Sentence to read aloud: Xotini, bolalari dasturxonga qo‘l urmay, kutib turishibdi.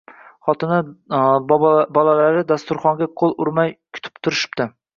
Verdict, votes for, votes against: rejected, 0, 2